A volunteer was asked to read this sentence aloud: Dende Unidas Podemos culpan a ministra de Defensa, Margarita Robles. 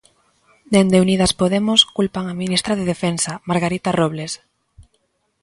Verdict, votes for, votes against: accepted, 2, 0